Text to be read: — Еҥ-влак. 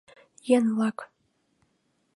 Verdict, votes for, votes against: accepted, 2, 0